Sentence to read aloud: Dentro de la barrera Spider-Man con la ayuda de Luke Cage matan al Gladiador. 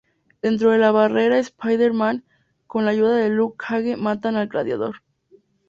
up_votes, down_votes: 2, 0